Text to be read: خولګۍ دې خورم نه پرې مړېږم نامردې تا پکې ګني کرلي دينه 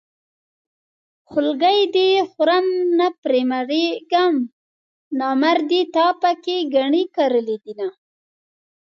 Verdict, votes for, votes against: rejected, 1, 2